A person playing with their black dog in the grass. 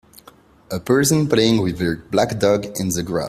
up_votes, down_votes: 2, 0